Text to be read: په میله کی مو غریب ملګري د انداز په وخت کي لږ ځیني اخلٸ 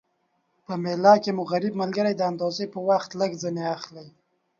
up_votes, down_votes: 2, 1